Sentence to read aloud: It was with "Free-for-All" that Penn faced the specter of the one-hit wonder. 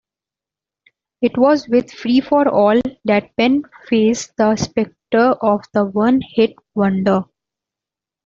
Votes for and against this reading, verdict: 2, 0, accepted